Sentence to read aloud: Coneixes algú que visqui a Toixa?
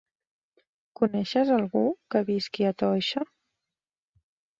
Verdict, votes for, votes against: accepted, 3, 0